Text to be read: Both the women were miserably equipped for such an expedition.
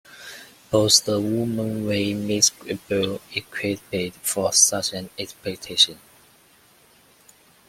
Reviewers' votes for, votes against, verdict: 1, 2, rejected